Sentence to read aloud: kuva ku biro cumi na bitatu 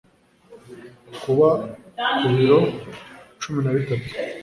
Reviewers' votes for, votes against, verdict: 0, 2, rejected